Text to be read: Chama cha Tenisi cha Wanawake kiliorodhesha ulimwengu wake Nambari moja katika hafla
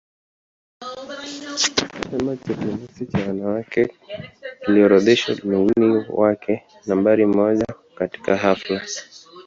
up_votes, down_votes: 0, 2